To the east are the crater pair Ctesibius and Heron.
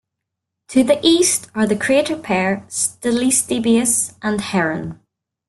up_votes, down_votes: 2, 3